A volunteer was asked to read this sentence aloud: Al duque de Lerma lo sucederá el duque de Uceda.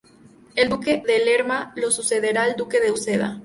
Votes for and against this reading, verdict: 0, 2, rejected